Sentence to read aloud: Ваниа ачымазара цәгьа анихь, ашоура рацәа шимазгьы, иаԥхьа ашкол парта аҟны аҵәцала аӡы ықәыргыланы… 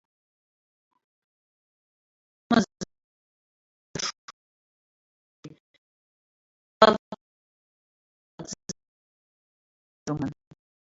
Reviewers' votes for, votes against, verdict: 0, 2, rejected